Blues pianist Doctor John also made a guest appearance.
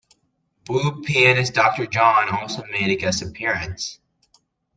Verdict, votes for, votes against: rejected, 0, 2